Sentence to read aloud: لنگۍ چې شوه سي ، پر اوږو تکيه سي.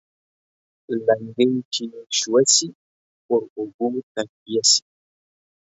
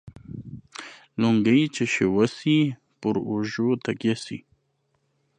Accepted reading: second